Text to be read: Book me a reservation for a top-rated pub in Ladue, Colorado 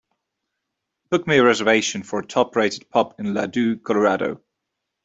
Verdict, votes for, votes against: accepted, 2, 0